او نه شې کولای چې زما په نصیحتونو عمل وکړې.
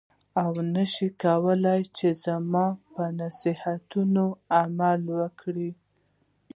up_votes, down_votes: 2, 0